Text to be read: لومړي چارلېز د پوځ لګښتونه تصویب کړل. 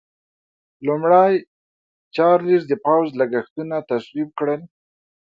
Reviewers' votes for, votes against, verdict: 2, 0, accepted